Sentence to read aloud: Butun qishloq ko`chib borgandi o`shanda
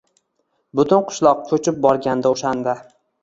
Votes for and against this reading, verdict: 2, 0, accepted